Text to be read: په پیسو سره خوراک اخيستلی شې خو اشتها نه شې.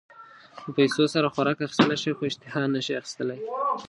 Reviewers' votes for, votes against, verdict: 1, 2, rejected